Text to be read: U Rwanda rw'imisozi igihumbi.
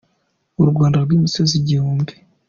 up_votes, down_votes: 2, 0